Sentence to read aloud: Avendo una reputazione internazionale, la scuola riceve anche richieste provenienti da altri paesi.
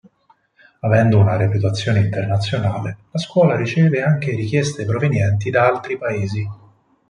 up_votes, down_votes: 4, 0